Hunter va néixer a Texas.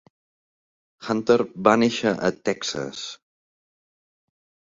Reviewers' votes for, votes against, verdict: 2, 0, accepted